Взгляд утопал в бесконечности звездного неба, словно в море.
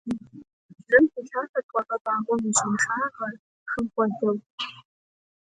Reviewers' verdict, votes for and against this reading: rejected, 0, 2